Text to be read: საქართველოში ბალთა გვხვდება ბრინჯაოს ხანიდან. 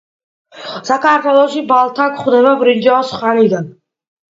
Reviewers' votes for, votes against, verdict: 2, 0, accepted